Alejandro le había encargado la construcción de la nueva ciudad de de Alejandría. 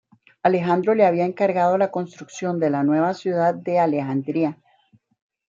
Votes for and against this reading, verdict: 2, 1, accepted